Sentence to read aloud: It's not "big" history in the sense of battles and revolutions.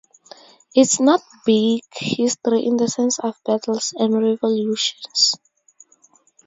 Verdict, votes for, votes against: accepted, 2, 0